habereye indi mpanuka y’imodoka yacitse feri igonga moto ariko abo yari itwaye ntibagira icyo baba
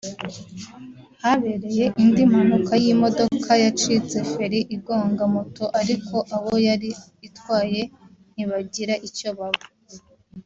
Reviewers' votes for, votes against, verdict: 1, 2, rejected